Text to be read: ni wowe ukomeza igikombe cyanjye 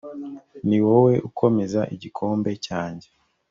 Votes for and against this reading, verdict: 2, 0, accepted